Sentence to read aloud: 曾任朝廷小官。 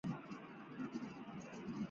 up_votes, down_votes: 1, 2